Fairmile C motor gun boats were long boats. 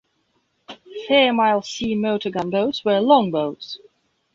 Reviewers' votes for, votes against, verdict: 2, 0, accepted